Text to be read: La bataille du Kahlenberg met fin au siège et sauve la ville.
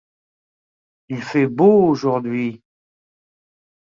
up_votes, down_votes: 0, 2